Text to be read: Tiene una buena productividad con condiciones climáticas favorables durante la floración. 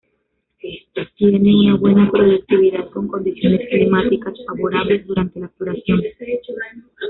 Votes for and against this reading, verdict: 0, 2, rejected